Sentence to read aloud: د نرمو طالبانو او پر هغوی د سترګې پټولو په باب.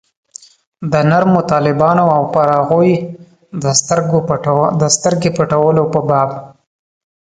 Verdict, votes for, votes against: rejected, 0, 2